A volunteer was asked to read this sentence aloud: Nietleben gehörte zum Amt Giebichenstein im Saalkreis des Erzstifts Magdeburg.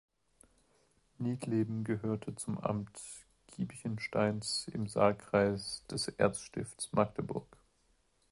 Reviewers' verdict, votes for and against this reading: rejected, 0, 2